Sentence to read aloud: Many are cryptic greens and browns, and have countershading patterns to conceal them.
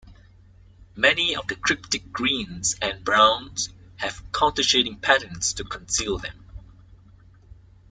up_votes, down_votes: 0, 2